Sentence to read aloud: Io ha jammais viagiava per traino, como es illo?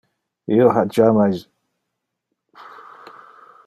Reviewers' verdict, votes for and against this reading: rejected, 0, 2